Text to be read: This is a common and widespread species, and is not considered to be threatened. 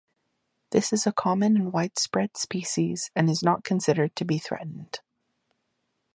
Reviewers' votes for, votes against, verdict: 2, 0, accepted